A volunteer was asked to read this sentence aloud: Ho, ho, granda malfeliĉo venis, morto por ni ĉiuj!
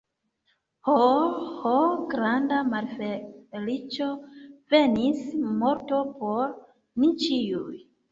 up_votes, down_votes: 0, 2